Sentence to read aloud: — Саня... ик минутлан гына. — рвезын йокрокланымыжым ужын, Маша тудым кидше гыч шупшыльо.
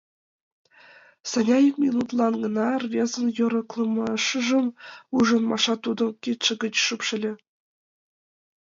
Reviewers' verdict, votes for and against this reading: rejected, 0, 2